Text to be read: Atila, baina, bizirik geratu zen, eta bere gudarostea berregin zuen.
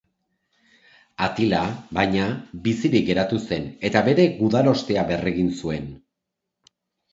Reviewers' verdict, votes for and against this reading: accepted, 2, 0